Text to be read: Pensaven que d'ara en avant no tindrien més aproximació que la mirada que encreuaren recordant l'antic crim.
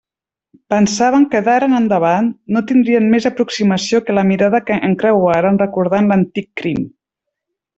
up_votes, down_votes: 0, 2